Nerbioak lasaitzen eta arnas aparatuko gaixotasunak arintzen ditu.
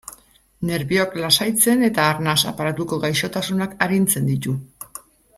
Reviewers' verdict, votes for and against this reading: accepted, 2, 0